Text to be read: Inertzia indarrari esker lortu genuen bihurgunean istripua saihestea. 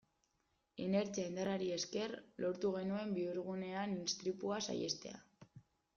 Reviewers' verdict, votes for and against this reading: accepted, 2, 0